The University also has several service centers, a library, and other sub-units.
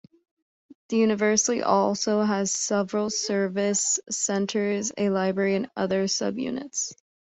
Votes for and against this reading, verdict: 1, 2, rejected